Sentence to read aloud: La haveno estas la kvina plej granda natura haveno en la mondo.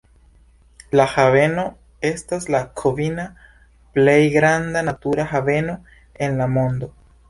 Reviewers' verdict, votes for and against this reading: accepted, 2, 0